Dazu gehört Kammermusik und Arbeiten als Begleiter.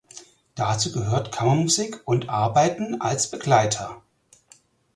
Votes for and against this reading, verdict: 4, 0, accepted